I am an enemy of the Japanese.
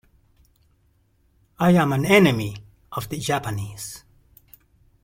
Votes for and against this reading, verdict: 2, 0, accepted